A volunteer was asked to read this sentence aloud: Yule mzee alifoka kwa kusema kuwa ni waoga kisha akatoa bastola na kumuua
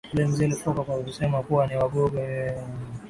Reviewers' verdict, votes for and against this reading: rejected, 0, 2